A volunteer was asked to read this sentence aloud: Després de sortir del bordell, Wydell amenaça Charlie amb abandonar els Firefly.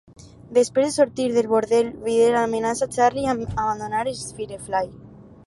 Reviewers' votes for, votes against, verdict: 0, 4, rejected